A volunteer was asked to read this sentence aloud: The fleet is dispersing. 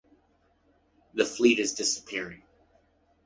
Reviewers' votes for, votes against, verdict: 0, 2, rejected